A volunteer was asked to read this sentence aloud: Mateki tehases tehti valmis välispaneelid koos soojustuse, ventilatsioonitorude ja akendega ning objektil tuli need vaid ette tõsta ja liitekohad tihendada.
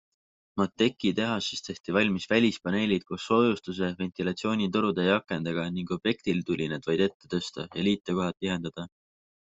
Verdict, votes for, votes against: accepted, 4, 0